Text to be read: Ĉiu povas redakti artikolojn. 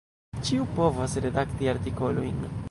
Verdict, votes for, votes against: accepted, 2, 1